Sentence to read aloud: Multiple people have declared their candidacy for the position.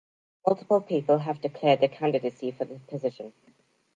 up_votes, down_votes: 1, 2